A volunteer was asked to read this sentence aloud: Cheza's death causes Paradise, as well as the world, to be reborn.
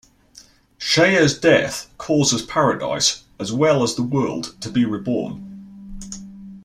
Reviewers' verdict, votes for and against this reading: accepted, 2, 0